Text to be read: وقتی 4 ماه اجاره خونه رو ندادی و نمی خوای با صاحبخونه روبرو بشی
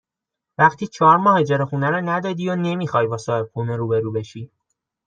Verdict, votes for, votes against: rejected, 0, 2